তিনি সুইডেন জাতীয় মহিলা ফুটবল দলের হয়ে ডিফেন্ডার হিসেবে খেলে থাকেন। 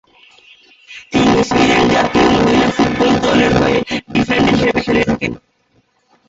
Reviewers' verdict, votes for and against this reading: rejected, 0, 2